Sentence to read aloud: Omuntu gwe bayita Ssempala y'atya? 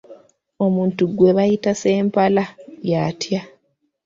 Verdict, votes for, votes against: accepted, 2, 0